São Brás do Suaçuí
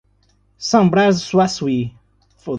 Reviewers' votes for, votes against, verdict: 1, 2, rejected